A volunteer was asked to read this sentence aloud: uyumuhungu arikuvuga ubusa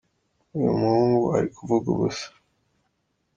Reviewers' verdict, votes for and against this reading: accepted, 2, 0